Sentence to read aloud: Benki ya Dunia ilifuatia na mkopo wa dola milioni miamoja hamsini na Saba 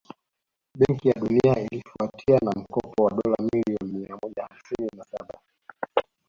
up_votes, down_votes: 1, 2